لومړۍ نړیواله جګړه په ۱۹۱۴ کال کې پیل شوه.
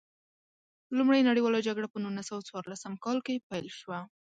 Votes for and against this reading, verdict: 0, 2, rejected